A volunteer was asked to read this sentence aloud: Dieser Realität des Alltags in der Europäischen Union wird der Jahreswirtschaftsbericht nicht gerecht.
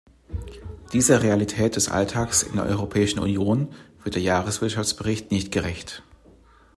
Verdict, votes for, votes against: accepted, 2, 0